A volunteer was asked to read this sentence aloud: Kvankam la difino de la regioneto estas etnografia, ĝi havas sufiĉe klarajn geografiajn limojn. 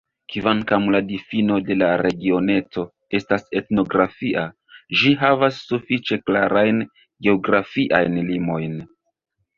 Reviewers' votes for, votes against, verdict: 2, 1, accepted